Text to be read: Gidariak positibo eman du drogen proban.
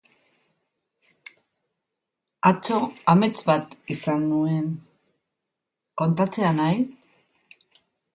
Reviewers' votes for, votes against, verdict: 0, 3, rejected